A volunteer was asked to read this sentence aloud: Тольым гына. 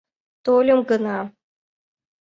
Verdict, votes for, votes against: accepted, 2, 0